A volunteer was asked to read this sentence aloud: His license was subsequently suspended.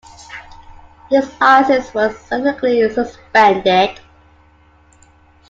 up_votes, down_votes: 0, 2